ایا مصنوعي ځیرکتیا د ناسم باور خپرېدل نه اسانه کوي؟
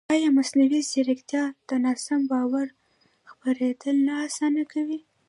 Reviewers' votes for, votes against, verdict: 1, 2, rejected